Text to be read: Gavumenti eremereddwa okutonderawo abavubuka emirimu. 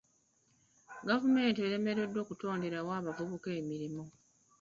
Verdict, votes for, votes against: rejected, 1, 2